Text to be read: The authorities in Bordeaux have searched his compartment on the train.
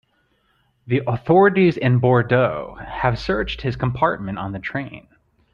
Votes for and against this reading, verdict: 2, 0, accepted